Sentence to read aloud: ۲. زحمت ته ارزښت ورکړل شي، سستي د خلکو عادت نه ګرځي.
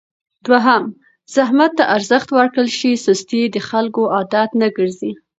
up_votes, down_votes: 0, 2